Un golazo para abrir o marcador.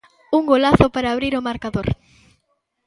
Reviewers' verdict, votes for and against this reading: accepted, 2, 0